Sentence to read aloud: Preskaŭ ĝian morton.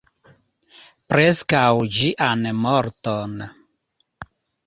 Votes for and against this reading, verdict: 2, 0, accepted